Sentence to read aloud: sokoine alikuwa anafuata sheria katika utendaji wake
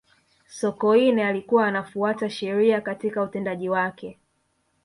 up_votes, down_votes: 3, 0